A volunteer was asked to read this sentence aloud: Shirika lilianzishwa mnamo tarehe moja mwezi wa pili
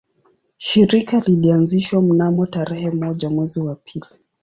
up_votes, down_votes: 2, 0